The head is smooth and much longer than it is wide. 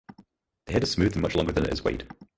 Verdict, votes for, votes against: rejected, 0, 4